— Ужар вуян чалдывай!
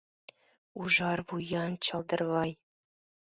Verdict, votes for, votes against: rejected, 0, 2